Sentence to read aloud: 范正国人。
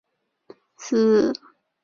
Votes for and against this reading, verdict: 0, 2, rejected